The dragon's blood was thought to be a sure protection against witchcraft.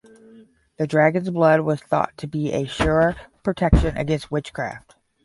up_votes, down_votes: 10, 0